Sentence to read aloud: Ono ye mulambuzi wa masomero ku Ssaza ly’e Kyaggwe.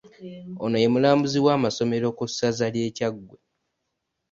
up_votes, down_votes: 1, 2